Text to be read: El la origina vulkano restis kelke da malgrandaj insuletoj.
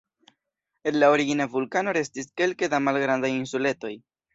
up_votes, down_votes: 0, 2